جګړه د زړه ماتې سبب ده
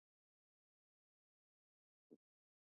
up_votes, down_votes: 0, 2